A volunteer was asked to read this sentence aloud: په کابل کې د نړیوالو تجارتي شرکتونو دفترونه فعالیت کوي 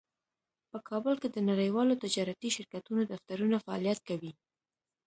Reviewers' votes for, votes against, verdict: 2, 0, accepted